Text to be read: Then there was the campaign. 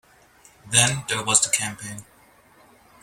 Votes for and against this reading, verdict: 2, 1, accepted